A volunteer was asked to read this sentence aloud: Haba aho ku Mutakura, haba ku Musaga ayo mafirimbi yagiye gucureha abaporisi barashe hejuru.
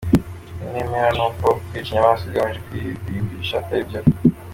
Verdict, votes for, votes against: rejected, 0, 2